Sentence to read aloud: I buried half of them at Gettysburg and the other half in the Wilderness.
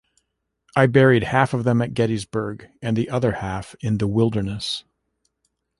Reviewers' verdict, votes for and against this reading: accepted, 2, 0